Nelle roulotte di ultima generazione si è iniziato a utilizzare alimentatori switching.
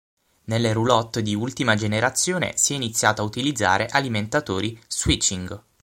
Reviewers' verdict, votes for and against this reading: accepted, 6, 0